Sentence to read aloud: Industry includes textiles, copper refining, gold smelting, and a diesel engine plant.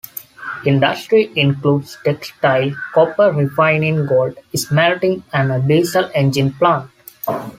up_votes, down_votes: 0, 2